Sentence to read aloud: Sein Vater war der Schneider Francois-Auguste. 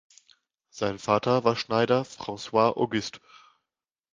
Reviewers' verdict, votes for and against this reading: rejected, 0, 2